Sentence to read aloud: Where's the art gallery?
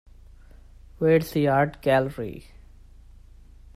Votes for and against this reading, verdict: 2, 0, accepted